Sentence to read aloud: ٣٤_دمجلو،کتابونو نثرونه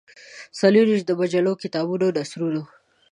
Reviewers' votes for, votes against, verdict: 0, 2, rejected